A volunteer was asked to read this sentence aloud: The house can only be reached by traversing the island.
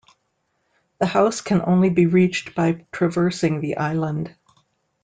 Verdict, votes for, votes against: accepted, 2, 0